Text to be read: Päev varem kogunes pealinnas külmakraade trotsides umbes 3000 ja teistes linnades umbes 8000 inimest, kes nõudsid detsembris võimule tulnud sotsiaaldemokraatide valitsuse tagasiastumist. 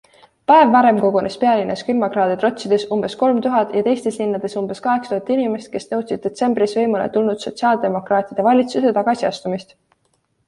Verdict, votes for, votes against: rejected, 0, 2